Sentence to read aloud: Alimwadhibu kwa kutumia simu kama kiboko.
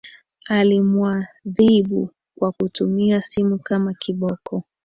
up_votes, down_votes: 2, 1